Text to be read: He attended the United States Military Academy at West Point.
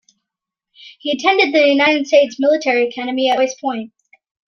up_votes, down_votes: 2, 0